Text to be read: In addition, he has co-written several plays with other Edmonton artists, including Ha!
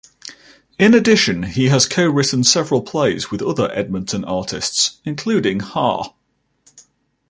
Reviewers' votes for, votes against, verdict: 2, 0, accepted